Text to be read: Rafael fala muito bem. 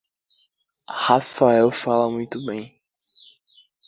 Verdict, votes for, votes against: accepted, 2, 0